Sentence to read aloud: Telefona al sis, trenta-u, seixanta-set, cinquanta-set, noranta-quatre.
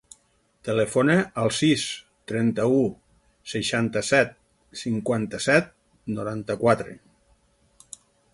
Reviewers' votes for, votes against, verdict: 6, 0, accepted